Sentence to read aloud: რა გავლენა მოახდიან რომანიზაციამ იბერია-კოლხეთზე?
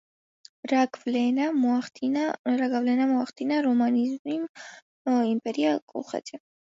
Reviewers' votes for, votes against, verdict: 0, 2, rejected